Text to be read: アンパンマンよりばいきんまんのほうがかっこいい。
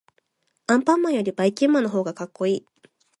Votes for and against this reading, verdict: 2, 0, accepted